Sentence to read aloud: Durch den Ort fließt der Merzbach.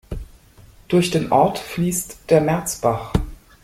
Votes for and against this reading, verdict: 2, 0, accepted